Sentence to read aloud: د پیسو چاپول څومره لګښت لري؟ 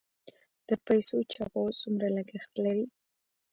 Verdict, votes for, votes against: accepted, 4, 0